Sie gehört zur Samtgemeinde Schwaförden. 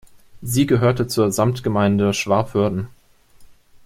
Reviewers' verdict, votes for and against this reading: rejected, 0, 2